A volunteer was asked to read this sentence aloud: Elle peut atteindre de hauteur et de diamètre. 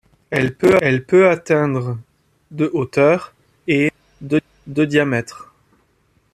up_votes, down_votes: 0, 2